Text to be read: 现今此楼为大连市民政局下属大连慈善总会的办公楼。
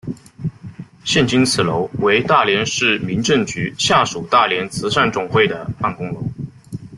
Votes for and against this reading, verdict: 2, 0, accepted